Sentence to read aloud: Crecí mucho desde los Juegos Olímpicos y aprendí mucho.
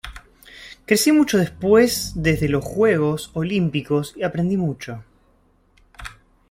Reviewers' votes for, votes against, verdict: 1, 2, rejected